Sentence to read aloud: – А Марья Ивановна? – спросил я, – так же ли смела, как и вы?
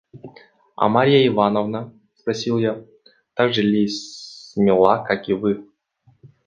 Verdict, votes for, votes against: accepted, 2, 0